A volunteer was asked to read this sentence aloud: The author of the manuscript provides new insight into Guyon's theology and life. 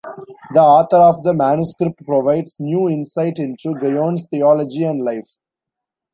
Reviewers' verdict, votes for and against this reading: accepted, 2, 1